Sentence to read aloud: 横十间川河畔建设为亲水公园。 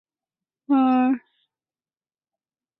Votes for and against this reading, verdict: 0, 2, rejected